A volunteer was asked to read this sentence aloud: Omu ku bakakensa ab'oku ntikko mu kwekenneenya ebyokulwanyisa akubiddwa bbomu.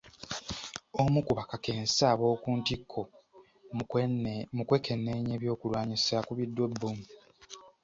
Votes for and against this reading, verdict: 2, 0, accepted